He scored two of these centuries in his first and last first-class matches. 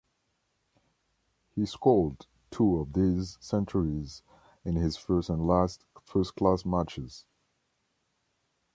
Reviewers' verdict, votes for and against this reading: accepted, 2, 0